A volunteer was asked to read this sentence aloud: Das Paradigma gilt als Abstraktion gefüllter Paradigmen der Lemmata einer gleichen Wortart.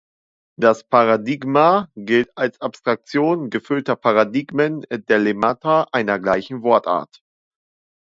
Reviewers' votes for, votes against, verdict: 2, 0, accepted